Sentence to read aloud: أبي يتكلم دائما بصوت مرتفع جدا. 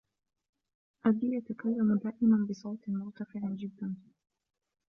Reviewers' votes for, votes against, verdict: 1, 2, rejected